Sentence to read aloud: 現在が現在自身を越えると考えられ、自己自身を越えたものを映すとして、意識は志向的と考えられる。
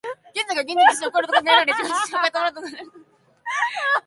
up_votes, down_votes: 0, 2